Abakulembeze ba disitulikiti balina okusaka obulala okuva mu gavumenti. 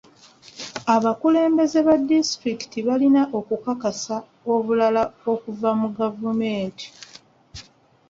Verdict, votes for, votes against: rejected, 0, 3